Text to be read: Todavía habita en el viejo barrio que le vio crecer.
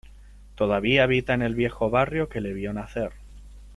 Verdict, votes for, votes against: rejected, 0, 3